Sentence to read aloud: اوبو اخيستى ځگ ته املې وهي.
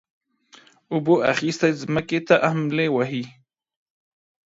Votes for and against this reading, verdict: 1, 2, rejected